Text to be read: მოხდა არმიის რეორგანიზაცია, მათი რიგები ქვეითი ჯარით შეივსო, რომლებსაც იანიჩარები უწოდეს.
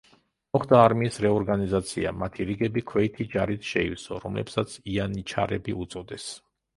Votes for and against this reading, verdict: 2, 0, accepted